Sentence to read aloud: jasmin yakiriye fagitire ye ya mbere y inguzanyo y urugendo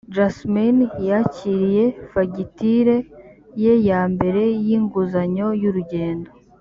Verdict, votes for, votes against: accepted, 3, 0